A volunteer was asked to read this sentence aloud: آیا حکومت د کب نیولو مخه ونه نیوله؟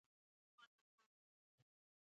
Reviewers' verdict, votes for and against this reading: rejected, 1, 2